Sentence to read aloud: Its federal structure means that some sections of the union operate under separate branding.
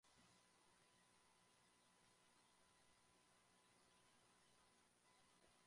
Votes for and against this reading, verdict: 0, 2, rejected